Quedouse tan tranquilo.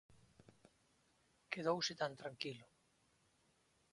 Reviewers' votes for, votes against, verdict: 2, 0, accepted